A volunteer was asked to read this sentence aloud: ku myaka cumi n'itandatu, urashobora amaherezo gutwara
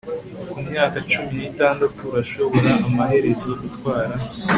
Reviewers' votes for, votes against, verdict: 3, 0, accepted